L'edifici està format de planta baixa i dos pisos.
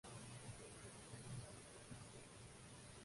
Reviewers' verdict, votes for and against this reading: rejected, 0, 2